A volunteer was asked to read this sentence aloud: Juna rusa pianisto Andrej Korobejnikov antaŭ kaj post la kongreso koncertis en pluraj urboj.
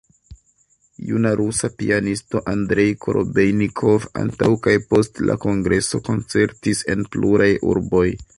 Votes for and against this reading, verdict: 2, 0, accepted